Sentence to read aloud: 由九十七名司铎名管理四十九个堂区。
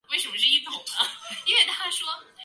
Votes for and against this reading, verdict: 0, 2, rejected